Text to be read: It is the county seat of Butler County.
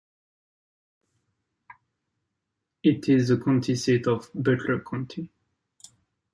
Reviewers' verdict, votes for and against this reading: accepted, 2, 0